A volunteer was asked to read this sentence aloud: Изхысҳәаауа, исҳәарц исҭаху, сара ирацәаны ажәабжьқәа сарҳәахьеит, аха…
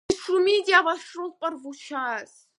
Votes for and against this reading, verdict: 0, 2, rejected